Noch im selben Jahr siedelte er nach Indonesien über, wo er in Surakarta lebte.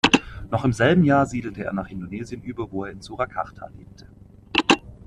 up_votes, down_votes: 2, 0